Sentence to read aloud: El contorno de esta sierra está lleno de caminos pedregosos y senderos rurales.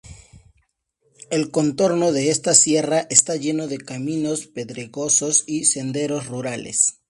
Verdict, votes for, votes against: accepted, 8, 0